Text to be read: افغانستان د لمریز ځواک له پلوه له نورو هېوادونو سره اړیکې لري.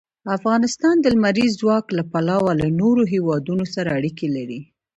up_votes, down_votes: 2, 0